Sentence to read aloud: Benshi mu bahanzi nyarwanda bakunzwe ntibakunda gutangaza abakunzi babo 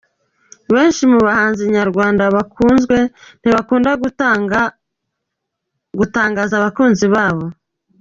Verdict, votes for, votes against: rejected, 1, 2